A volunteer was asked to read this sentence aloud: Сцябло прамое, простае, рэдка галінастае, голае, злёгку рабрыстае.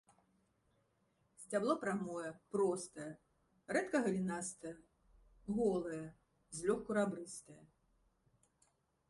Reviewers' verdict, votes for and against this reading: rejected, 1, 2